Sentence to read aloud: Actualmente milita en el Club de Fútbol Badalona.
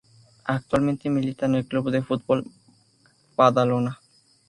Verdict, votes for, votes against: accepted, 2, 0